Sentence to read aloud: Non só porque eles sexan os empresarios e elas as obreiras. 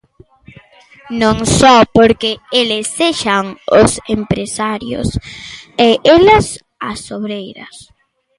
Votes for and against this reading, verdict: 2, 0, accepted